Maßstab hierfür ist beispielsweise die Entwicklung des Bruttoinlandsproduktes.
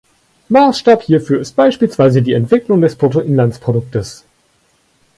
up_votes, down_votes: 2, 0